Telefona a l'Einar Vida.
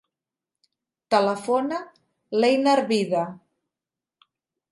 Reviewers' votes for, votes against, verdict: 2, 3, rejected